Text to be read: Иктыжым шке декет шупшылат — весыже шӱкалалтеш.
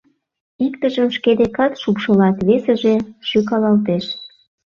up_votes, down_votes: 0, 2